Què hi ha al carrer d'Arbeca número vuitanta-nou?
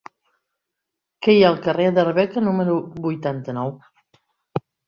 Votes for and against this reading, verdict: 2, 0, accepted